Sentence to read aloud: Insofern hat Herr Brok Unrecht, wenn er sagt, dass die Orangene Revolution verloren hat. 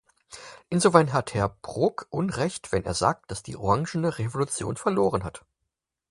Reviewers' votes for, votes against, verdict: 4, 2, accepted